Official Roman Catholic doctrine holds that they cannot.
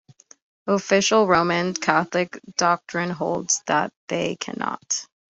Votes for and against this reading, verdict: 2, 0, accepted